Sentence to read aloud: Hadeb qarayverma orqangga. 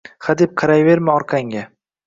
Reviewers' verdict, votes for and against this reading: accepted, 2, 0